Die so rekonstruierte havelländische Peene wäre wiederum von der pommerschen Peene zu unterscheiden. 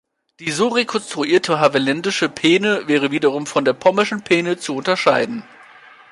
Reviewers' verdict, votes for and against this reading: accepted, 2, 0